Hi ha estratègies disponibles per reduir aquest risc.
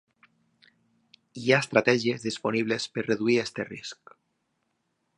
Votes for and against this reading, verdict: 2, 0, accepted